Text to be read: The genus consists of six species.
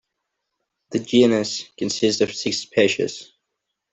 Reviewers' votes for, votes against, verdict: 1, 2, rejected